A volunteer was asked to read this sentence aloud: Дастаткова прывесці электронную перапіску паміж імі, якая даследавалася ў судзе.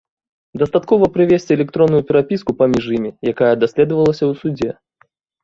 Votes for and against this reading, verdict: 2, 0, accepted